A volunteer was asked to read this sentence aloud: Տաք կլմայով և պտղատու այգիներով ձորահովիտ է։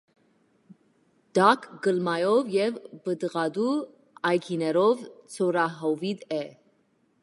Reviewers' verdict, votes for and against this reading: rejected, 0, 2